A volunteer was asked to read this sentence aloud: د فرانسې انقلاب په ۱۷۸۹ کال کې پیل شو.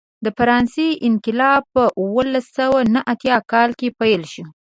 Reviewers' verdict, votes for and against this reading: rejected, 0, 2